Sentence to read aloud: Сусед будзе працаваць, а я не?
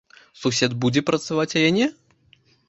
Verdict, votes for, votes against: accepted, 2, 0